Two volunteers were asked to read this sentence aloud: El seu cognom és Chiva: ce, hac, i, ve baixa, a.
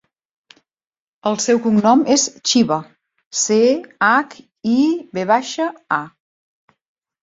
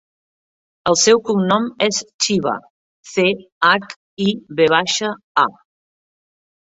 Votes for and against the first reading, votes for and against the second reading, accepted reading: 2, 0, 1, 2, first